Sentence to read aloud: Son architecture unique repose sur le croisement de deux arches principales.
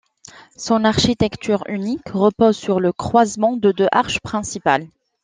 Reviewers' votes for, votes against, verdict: 2, 0, accepted